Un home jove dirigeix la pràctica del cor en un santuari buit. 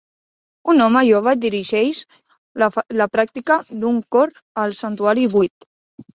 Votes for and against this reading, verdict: 0, 2, rejected